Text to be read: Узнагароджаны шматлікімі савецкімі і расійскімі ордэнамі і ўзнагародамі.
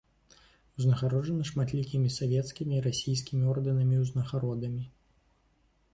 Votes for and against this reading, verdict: 2, 0, accepted